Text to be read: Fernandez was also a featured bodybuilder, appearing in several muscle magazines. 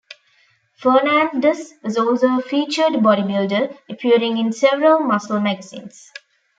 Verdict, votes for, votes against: rejected, 1, 2